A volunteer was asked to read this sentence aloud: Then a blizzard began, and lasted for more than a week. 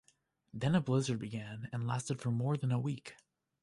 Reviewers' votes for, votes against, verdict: 2, 0, accepted